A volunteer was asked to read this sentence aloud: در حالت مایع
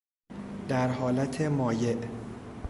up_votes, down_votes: 2, 0